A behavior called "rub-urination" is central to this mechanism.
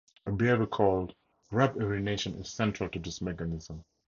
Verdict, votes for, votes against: accepted, 2, 0